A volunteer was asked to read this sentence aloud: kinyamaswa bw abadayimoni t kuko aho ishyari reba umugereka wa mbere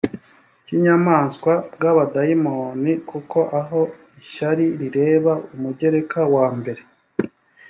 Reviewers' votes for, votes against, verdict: 1, 2, rejected